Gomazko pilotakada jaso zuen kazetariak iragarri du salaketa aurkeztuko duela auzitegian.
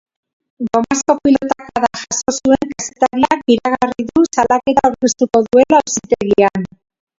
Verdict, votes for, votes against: rejected, 0, 2